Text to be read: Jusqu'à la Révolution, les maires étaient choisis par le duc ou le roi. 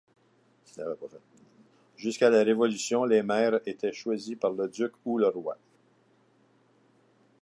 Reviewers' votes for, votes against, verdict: 2, 0, accepted